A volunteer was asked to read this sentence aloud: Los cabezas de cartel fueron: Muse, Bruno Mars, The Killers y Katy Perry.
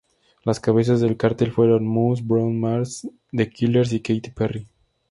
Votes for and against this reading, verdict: 2, 0, accepted